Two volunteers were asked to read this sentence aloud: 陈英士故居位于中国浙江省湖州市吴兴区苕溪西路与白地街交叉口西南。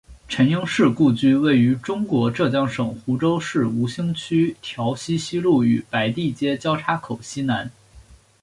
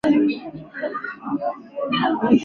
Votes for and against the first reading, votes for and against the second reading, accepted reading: 5, 1, 2, 3, first